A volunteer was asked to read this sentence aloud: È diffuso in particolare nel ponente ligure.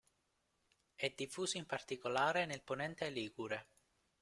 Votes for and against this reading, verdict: 2, 0, accepted